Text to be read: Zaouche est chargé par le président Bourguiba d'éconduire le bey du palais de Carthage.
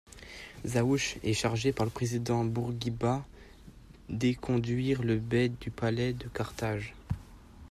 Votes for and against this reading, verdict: 2, 0, accepted